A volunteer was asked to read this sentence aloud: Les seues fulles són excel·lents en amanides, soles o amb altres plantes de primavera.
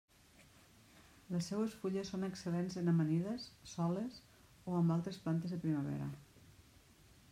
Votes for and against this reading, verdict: 2, 1, accepted